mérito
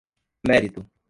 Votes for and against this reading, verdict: 1, 2, rejected